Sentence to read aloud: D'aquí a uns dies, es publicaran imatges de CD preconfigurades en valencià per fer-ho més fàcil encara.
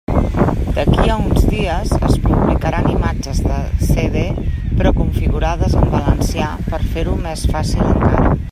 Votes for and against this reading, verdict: 0, 2, rejected